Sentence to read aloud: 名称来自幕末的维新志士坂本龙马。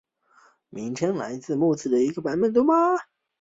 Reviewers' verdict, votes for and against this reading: rejected, 2, 3